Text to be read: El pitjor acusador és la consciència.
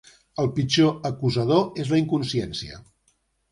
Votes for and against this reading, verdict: 0, 2, rejected